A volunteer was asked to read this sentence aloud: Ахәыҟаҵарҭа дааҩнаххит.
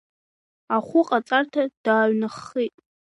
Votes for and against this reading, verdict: 2, 0, accepted